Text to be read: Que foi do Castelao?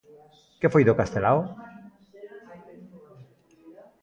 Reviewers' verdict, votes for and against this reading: accepted, 2, 0